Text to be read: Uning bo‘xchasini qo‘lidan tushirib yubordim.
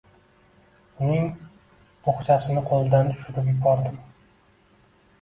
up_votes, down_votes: 0, 2